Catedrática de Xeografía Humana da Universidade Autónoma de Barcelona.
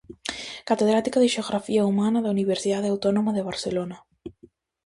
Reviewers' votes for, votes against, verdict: 2, 0, accepted